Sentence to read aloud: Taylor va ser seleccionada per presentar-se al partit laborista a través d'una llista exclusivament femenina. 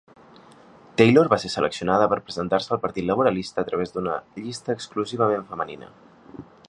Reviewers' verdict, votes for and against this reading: rejected, 0, 2